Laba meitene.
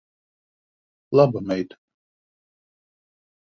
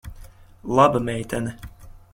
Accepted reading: second